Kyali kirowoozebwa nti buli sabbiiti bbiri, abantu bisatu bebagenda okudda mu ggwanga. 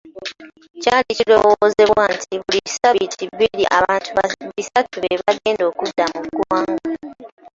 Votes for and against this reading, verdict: 0, 3, rejected